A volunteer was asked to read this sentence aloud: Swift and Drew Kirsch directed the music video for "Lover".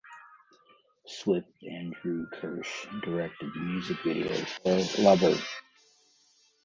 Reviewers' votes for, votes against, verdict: 2, 0, accepted